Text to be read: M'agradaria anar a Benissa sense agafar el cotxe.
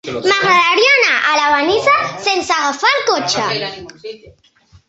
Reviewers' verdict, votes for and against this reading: rejected, 0, 2